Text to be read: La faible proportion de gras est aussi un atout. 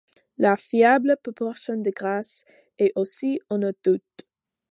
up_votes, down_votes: 1, 2